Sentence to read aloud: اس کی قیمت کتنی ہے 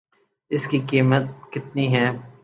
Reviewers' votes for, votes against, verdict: 3, 0, accepted